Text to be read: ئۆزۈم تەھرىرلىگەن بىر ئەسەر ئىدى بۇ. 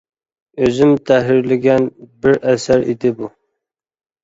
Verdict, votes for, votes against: accepted, 2, 0